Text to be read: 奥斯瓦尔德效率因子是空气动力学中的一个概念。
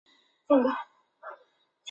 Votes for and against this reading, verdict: 0, 3, rejected